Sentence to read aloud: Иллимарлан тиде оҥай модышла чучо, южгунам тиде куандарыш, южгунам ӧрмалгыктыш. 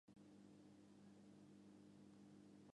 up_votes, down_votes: 0, 2